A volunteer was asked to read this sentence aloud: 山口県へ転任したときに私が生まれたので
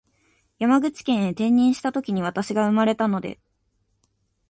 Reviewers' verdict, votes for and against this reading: accepted, 6, 0